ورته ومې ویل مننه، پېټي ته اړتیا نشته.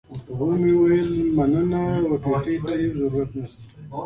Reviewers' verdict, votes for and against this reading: rejected, 0, 2